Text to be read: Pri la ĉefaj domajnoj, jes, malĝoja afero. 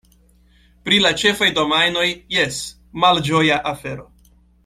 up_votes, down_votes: 2, 0